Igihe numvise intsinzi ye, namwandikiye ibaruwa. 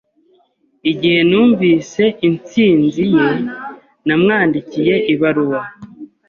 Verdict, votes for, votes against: accepted, 2, 0